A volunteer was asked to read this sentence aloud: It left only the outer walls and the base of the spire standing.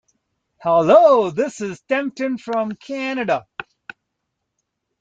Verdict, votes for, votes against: rejected, 0, 2